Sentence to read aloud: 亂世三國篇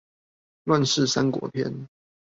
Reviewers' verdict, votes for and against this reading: accepted, 2, 0